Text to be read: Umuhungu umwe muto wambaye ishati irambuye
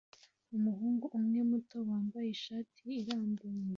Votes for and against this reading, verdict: 1, 2, rejected